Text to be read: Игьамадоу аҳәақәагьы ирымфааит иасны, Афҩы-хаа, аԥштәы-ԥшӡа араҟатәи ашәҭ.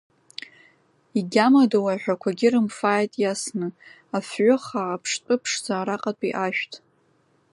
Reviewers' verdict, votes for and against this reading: rejected, 1, 2